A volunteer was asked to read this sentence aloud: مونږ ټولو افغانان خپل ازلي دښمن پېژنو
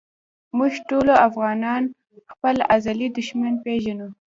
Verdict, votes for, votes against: accepted, 2, 1